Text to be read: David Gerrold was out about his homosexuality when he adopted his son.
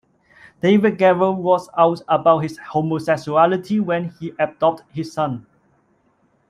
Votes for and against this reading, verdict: 2, 1, accepted